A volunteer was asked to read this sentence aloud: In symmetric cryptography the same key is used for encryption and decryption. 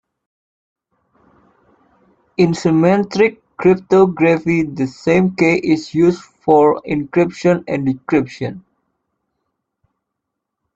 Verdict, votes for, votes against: rejected, 1, 2